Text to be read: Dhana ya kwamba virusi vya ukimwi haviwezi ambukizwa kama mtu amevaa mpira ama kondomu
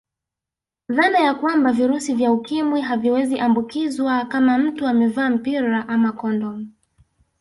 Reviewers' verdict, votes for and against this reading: rejected, 1, 2